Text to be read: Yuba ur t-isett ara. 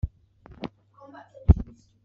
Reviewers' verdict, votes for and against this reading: rejected, 1, 2